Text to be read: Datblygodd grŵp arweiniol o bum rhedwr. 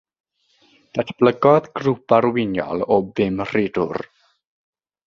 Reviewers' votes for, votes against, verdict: 0, 3, rejected